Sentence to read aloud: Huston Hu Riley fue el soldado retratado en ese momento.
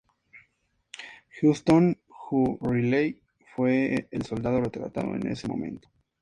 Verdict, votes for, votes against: accepted, 4, 0